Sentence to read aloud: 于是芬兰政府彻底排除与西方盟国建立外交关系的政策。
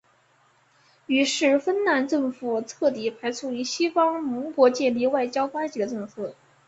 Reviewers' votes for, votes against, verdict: 3, 2, accepted